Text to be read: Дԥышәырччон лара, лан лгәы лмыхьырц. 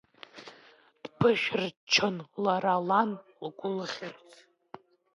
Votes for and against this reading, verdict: 0, 2, rejected